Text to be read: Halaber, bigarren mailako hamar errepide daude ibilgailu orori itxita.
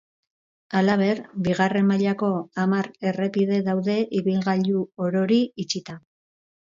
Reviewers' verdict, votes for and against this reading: accepted, 2, 0